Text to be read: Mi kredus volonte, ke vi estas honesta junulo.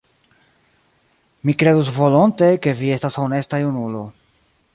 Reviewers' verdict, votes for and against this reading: accepted, 2, 1